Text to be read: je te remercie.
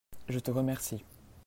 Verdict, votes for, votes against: accepted, 2, 0